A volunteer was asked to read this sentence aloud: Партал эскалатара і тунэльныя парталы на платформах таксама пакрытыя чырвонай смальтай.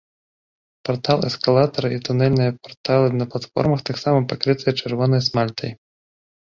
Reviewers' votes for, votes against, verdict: 2, 1, accepted